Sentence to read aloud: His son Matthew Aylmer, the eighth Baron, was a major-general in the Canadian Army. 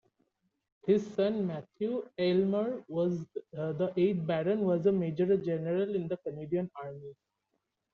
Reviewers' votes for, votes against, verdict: 0, 2, rejected